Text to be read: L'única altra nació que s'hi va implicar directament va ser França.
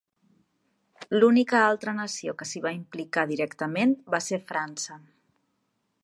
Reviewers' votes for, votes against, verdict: 3, 0, accepted